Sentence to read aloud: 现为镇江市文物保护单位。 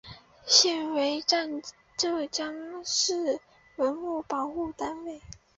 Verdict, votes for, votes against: rejected, 0, 2